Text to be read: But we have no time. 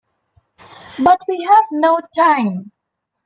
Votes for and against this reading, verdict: 2, 0, accepted